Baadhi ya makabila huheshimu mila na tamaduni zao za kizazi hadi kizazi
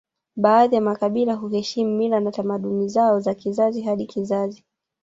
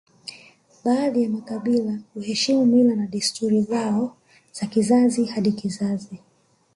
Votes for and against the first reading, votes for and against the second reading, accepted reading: 1, 2, 2, 1, second